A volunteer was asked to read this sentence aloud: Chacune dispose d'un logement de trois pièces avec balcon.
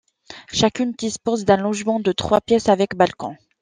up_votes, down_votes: 2, 0